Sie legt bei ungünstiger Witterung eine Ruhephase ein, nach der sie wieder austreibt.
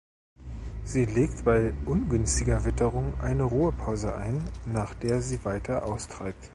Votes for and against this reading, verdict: 1, 2, rejected